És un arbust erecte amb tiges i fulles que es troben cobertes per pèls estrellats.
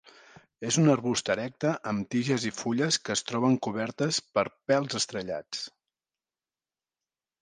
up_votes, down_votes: 2, 0